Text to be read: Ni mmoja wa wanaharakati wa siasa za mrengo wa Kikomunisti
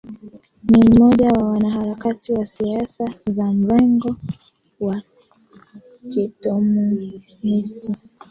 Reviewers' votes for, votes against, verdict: 2, 1, accepted